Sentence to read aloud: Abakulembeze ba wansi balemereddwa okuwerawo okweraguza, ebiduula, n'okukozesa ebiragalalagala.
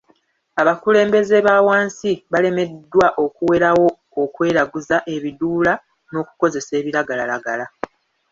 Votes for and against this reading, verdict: 2, 0, accepted